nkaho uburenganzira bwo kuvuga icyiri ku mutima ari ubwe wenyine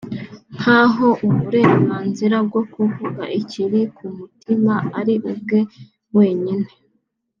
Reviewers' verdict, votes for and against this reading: accepted, 2, 0